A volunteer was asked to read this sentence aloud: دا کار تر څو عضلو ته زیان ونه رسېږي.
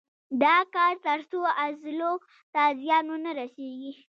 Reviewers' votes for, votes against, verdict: 1, 2, rejected